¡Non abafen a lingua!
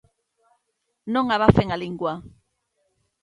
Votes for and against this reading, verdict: 2, 0, accepted